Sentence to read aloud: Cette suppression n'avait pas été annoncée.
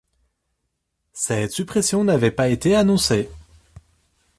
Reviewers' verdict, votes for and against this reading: accepted, 2, 0